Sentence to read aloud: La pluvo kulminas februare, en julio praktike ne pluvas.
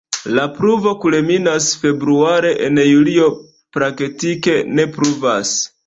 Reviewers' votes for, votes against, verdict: 2, 0, accepted